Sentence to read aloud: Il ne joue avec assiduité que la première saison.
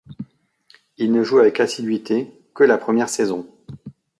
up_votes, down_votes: 2, 0